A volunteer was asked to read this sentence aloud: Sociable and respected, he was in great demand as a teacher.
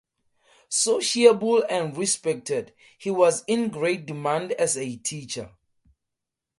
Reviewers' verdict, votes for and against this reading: accepted, 4, 0